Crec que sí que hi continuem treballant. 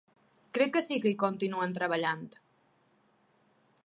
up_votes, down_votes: 2, 0